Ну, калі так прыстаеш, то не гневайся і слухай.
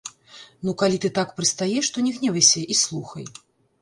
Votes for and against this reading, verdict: 1, 2, rejected